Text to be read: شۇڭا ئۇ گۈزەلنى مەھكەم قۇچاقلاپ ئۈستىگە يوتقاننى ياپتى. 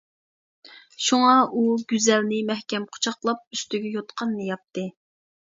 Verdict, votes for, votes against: accepted, 2, 0